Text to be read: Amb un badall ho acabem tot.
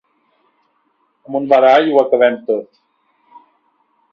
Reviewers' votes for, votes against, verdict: 1, 2, rejected